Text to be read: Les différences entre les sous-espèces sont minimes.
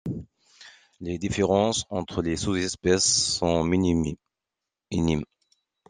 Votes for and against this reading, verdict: 0, 2, rejected